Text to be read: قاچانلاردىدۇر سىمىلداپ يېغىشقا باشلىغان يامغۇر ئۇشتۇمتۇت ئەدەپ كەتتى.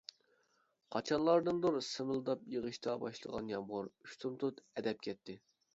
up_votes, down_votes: 0, 3